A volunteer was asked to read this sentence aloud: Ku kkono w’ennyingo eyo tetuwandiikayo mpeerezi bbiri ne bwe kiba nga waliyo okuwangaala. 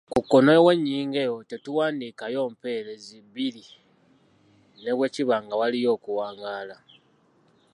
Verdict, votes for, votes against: accepted, 2, 0